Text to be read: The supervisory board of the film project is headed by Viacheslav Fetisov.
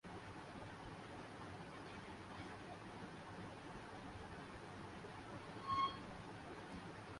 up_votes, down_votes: 0, 4